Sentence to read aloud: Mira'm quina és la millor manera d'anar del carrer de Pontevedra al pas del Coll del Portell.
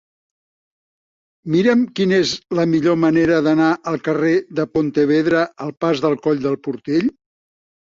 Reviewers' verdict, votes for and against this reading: rejected, 1, 3